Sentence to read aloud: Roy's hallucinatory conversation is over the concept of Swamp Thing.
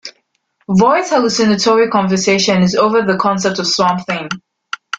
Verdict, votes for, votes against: accepted, 4, 2